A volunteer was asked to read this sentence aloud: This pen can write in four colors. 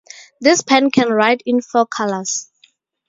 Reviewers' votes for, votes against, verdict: 2, 0, accepted